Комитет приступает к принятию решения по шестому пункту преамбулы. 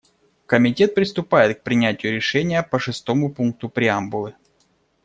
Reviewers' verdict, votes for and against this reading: accepted, 2, 0